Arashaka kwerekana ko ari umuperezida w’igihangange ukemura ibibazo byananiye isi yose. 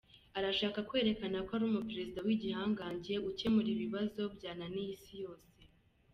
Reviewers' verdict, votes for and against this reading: accepted, 2, 0